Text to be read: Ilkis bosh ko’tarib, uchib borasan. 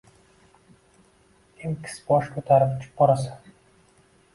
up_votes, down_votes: 1, 2